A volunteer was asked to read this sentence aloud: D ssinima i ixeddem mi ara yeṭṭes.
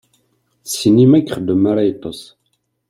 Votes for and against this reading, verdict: 2, 0, accepted